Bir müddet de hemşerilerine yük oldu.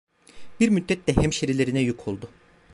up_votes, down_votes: 2, 0